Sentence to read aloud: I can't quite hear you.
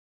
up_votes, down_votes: 0, 2